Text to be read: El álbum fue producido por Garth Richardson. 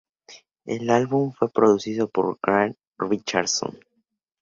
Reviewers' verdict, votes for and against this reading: accepted, 2, 0